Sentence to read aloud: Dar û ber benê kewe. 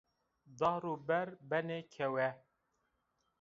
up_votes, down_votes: 2, 0